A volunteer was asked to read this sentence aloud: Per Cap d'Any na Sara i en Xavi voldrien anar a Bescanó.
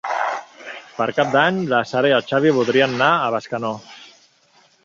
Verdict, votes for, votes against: rejected, 0, 2